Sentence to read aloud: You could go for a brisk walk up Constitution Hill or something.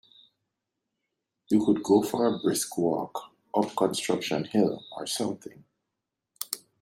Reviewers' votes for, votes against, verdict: 0, 2, rejected